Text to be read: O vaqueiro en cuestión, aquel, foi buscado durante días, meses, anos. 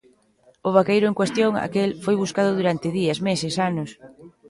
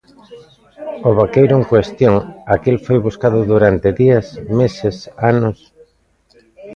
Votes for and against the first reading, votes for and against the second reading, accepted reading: 1, 2, 2, 0, second